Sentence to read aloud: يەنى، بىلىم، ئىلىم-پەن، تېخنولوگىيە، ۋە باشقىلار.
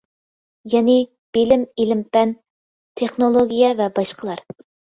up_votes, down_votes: 2, 0